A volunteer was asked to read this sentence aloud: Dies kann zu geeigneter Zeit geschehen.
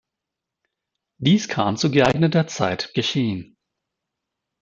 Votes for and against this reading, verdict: 1, 2, rejected